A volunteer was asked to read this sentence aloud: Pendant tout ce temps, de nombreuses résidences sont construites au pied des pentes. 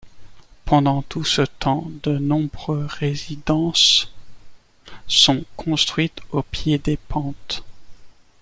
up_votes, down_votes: 0, 2